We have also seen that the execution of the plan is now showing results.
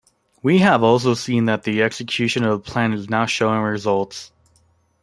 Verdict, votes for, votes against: accepted, 2, 0